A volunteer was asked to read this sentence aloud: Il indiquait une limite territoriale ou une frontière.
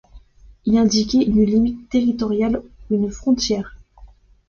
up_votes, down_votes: 2, 0